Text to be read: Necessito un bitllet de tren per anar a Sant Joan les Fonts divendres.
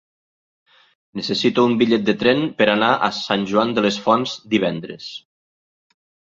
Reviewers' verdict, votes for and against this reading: rejected, 1, 2